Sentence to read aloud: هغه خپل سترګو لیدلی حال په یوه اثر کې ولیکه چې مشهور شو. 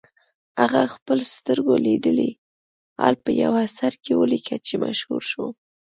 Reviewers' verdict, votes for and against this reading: accepted, 2, 0